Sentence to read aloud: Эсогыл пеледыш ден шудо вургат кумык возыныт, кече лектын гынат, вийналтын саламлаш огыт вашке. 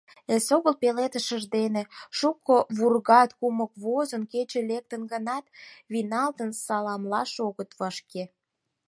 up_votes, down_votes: 2, 4